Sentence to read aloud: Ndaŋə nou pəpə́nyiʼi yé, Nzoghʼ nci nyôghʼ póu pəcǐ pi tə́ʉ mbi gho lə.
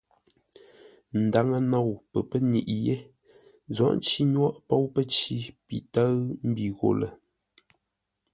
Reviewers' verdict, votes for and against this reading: accepted, 2, 0